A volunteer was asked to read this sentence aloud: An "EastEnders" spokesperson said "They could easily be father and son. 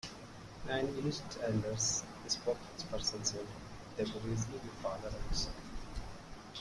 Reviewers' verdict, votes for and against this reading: rejected, 0, 2